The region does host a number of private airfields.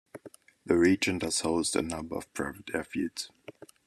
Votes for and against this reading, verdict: 2, 0, accepted